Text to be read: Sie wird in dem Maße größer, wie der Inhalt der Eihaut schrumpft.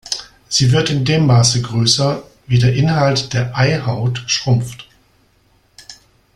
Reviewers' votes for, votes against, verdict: 2, 0, accepted